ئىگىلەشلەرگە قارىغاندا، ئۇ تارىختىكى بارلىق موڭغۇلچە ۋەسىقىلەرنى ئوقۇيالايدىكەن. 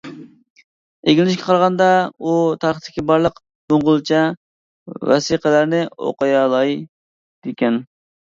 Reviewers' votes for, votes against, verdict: 0, 2, rejected